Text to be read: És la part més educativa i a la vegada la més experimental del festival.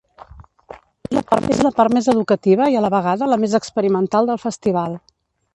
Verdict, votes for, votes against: rejected, 0, 2